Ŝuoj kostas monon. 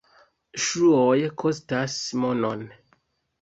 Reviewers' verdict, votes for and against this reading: rejected, 1, 2